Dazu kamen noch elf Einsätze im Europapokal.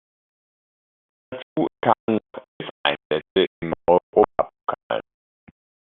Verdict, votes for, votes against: rejected, 0, 2